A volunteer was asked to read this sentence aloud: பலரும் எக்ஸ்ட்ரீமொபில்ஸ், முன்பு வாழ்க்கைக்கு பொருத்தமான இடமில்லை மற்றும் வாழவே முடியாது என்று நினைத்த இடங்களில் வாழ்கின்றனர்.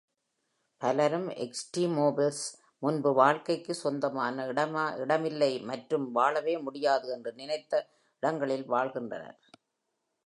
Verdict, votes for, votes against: rejected, 1, 2